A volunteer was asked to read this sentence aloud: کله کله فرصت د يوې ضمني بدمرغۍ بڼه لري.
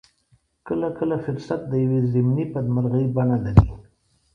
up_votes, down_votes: 2, 0